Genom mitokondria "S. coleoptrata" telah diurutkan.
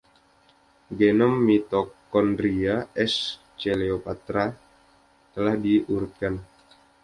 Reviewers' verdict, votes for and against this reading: accepted, 2, 0